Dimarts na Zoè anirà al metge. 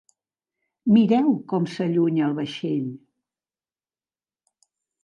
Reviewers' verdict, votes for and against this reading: rejected, 0, 2